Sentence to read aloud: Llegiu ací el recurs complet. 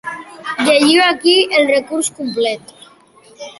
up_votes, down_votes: 2, 3